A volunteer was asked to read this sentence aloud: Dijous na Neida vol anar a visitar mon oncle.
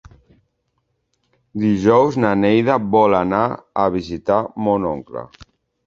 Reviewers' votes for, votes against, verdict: 3, 0, accepted